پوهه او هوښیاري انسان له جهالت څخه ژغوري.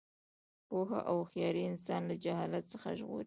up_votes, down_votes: 2, 0